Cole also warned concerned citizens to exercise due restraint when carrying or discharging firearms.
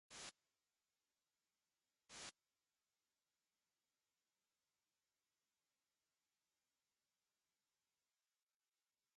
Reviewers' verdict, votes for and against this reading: rejected, 0, 2